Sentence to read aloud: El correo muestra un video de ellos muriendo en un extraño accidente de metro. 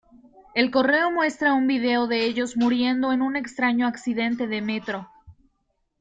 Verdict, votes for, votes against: accepted, 2, 1